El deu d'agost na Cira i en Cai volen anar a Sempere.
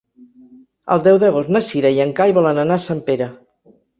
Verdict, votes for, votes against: accepted, 2, 0